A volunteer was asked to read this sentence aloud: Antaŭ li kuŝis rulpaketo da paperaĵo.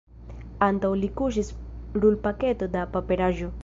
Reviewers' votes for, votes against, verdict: 2, 0, accepted